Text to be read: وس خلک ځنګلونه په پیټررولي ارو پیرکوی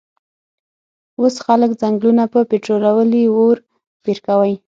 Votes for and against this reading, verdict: 0, 6, rejected